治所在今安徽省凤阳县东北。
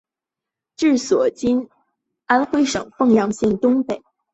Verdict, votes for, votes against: rejected, 2, 3